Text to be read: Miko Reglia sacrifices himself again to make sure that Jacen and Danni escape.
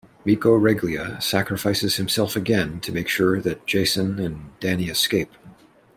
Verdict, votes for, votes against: accepted, 2, 0